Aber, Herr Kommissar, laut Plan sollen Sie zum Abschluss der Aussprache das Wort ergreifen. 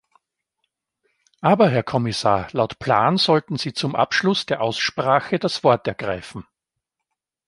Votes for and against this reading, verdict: 0, 2, rejected